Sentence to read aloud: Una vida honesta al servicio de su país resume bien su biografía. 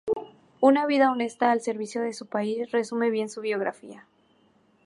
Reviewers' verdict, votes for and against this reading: rejected, 2, 2